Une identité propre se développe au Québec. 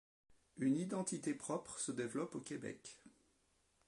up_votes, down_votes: 0, 2